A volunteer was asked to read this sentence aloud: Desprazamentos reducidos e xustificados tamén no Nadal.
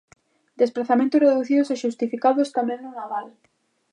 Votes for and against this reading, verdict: 2, 0, accepted